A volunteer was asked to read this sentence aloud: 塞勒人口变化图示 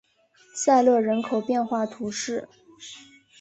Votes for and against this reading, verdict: 1, 2, rejected